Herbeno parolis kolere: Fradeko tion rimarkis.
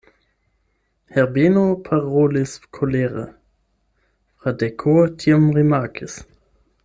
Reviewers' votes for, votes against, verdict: 8, 0, accepted